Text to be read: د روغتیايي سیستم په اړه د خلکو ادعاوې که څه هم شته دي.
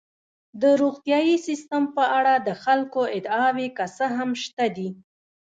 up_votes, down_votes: 0, 2